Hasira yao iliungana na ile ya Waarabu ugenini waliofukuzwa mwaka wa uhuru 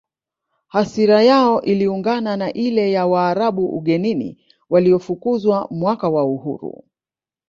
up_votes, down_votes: 0, 2